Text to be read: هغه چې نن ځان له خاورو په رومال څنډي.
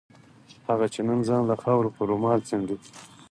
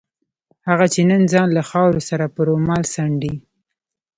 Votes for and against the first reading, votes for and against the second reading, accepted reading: 4, 0, 0, 2, first